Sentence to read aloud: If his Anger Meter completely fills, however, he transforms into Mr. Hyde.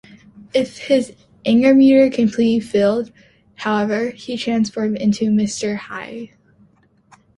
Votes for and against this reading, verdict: 0, 2, rejected